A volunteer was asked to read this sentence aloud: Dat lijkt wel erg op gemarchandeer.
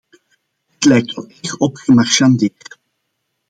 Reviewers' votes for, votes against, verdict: 1, 2, rejected